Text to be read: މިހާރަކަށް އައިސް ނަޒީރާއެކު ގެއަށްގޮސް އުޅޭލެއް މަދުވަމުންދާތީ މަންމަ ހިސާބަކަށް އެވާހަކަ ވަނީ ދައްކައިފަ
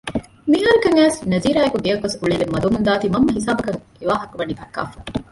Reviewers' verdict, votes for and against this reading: rejected, 0, 2